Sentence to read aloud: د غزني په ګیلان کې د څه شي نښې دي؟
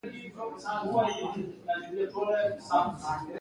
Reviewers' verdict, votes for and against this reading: rejected, 1, 2